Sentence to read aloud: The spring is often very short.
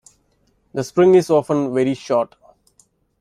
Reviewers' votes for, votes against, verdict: 2, 0, accepted